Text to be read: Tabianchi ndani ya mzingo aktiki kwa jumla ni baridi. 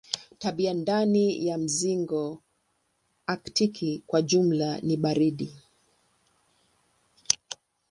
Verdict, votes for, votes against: rejected, 0, 3